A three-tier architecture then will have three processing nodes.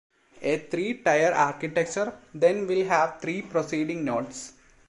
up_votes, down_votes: 0, 2